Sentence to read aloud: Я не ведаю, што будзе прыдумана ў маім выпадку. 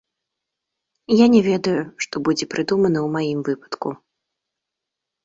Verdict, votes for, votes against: accepted, 2, 0